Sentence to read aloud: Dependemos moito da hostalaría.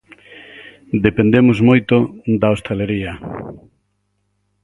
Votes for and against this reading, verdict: 4, 0, accepted